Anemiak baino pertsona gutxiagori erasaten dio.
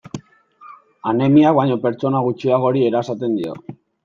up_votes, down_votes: 2, 0